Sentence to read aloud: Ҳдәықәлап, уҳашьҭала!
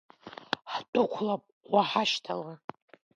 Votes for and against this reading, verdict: 3, 0, accepted